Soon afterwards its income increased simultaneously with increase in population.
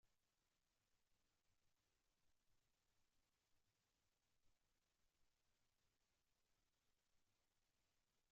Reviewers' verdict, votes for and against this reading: rejected, 0, 2